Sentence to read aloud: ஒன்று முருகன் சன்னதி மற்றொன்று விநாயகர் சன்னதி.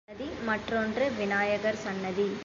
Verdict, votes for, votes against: rejected, 0, 3